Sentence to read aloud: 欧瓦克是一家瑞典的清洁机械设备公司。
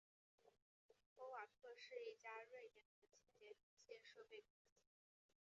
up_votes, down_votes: 0, 2